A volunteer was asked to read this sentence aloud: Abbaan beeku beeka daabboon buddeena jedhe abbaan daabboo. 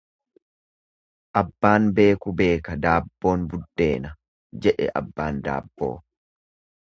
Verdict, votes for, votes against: accepted, 2, 0